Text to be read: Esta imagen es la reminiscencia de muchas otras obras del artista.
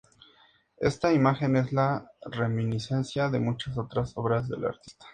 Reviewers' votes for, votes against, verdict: 4, 0, accepted